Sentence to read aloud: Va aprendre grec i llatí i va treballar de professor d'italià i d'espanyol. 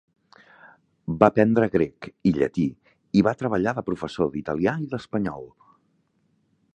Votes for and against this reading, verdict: 2, 0, accepted